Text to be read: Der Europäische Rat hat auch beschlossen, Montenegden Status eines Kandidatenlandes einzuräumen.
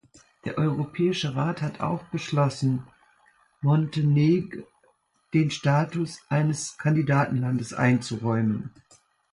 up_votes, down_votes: 0, 2